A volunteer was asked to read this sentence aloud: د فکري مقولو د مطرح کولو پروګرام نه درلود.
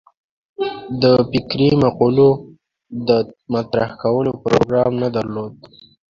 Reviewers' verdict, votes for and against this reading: accepted, 2, 0